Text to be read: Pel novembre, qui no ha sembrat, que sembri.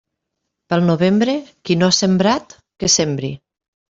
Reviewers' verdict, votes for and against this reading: accepted, 3, 0